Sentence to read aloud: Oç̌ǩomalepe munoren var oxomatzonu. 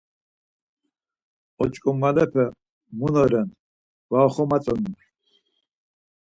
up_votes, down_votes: 4, 0